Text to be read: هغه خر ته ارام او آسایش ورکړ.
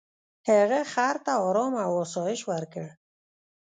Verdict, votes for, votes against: rejected, 1, 2